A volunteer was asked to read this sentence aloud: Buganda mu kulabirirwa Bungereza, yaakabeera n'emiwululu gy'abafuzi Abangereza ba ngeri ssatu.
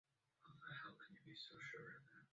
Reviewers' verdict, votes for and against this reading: rejected, 0, 2